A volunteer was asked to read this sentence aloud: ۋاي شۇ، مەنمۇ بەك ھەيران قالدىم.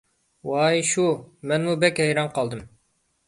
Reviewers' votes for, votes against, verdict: 2, 0, accepted